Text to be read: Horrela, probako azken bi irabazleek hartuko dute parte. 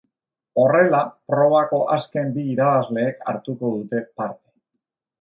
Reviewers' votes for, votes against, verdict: 2, 0, accepted